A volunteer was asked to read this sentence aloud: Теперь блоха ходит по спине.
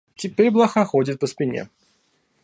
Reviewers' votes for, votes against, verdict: 2, 0, accepted